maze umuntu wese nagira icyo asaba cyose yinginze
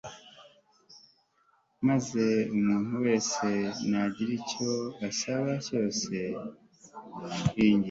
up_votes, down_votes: 1, 2